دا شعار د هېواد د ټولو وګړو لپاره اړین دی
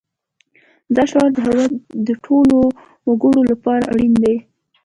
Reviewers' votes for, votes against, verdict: 0, 2, rejected